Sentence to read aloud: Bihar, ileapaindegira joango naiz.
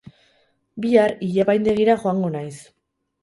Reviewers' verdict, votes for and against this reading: rejected, 0, 2